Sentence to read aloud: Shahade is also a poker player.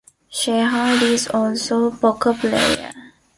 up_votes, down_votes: 1, 2